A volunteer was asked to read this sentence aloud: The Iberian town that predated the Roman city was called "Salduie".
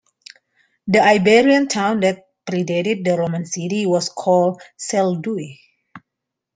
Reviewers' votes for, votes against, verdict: 2, 1, accepted